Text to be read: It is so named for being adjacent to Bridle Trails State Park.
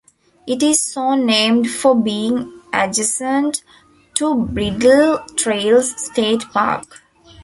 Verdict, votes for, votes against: accepted, 2, 1